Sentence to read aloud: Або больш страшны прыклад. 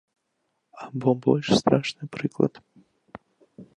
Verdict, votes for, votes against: accepted, 2, 0